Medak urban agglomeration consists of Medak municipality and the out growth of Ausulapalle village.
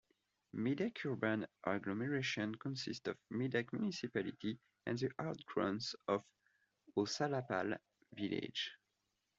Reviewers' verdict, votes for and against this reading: accepted, 2, 0